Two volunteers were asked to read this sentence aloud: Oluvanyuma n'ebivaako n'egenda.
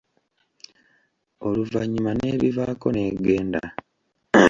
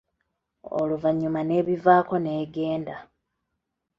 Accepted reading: second